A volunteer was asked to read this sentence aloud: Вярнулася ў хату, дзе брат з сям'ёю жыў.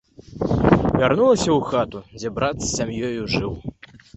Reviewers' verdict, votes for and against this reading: accepted, 2, 0